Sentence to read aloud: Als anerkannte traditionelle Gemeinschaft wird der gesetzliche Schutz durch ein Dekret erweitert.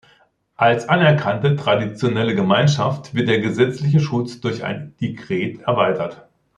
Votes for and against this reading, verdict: 2, 0, accepted